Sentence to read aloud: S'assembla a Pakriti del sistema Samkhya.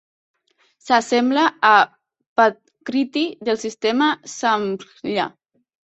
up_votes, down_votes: 1, 2